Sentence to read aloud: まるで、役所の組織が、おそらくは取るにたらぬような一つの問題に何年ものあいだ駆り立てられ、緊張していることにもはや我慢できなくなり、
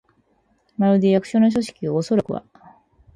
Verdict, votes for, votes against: rejected, 2, 6